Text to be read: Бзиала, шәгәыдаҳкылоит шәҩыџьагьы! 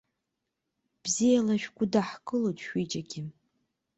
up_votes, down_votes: 2, 1